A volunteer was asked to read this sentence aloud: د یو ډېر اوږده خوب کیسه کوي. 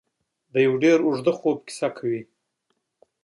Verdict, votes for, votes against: accepted, 2, 0